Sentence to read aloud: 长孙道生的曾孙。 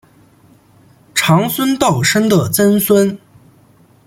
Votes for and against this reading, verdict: 1, 2, rejected